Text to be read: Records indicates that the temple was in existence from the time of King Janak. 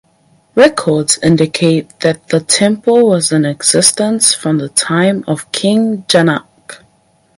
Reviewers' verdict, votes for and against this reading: accepted, 4, 2